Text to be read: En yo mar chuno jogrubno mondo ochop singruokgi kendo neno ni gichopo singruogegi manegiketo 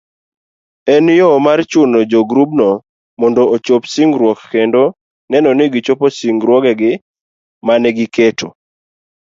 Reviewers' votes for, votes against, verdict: 3, 0, accepted